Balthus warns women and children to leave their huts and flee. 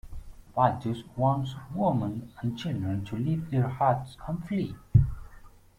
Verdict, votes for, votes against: rejected, 0, 2